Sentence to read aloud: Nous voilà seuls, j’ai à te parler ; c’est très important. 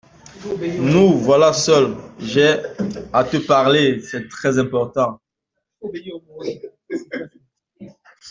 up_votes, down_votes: 2, 0